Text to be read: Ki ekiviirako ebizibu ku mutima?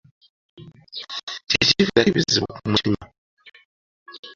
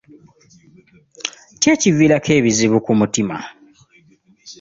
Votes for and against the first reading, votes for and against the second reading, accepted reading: 1, 3, 2, 0, second